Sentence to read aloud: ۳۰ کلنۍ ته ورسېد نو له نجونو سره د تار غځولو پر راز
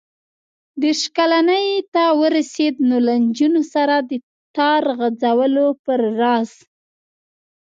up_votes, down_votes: 0, 2